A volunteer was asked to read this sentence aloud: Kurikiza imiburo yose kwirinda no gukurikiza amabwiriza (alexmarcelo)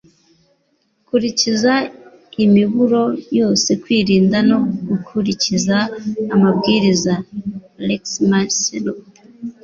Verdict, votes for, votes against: accepted, 2, 0